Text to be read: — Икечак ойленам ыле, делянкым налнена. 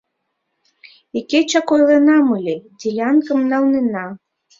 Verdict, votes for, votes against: accepted, 2, 0